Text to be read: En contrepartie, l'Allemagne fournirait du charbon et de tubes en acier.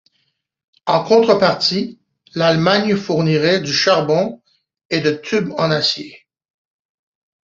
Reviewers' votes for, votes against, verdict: 2, 0, accepted